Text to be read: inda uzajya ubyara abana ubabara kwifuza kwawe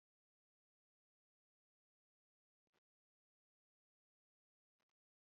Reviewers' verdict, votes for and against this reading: accepted, 2, 1